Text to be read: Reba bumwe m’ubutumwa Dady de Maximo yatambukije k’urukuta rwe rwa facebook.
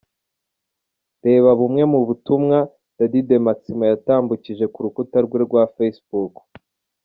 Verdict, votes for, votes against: accepted, 2, 0